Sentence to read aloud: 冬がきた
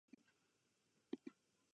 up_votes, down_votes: 1, 2